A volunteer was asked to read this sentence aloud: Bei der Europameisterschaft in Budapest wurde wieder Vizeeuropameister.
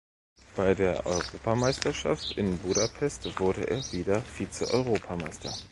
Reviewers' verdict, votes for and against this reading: rejected, 2, 3